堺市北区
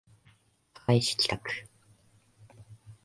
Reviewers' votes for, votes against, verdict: 1, 2, rejected